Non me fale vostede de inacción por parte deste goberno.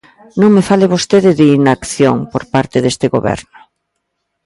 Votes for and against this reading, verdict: 2, 0, accepted